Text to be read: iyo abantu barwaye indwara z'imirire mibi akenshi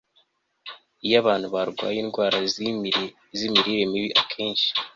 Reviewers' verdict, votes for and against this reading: rejected, 1, 2